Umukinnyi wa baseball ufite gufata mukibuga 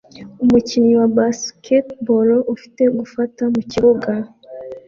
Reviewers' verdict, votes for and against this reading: rejected, 1, 2